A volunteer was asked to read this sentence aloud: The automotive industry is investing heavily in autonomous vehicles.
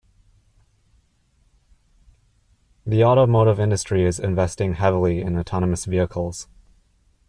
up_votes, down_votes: 2, 0